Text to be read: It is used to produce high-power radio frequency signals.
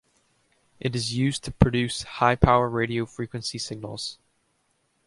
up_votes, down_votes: 2, 0